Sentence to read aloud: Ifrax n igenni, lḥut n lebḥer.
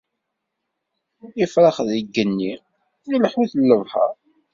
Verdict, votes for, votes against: rejected, 1, 2